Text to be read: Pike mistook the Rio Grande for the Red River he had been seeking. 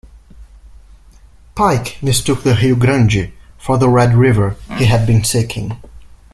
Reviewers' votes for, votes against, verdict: 1, 2, rejected